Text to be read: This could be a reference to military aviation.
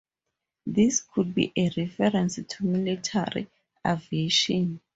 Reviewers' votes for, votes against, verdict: 2, 0, accepted